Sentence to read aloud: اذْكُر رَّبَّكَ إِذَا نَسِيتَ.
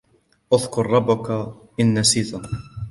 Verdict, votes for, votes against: rejected, 1, 2